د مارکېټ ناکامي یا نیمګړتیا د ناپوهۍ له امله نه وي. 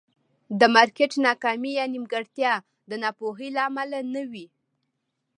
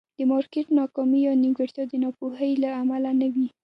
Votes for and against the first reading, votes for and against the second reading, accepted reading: 2, 0, 1, 2, first